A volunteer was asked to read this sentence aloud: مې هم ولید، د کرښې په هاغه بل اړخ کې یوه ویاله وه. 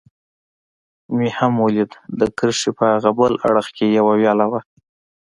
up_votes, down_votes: 2, 0